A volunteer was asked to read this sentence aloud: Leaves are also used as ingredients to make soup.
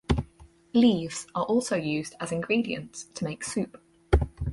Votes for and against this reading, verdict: 4, 0, accepted